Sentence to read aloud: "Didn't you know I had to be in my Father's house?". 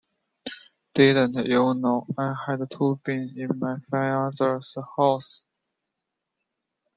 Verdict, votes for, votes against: rejected, 1, 2